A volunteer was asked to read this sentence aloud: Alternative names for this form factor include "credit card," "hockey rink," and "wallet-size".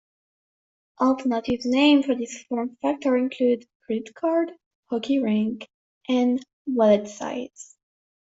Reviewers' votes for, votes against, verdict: 2, 0, accepted